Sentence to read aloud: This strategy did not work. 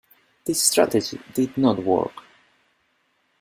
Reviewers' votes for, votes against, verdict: 2, 0, accepted